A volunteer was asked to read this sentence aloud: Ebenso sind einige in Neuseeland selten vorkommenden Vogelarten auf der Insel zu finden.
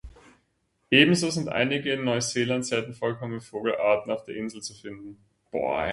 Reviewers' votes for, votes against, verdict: 0, 2, rejected